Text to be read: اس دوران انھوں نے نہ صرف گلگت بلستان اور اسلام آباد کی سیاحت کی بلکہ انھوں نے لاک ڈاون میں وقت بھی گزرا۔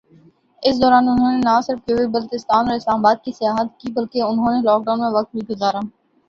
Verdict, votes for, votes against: accepted, 5, 0